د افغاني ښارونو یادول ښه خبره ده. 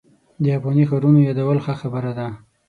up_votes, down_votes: 6, 0